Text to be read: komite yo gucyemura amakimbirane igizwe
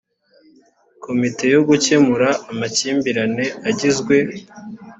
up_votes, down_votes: 0, 2